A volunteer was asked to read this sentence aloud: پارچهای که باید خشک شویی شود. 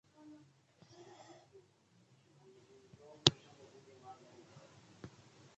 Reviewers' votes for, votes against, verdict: 0, 2, rejected